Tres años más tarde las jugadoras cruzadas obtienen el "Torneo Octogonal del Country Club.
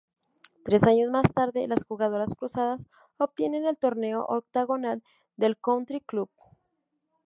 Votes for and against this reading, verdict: 0, 2, rejected